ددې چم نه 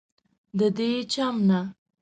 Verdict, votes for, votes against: accepted, 2, 0